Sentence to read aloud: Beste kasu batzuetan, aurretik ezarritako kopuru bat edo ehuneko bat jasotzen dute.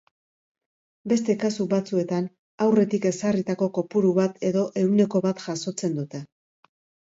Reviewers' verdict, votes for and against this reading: accepted, 2, 0